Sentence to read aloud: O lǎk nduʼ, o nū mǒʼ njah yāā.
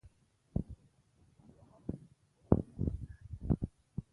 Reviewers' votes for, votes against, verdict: 1, 2, rejected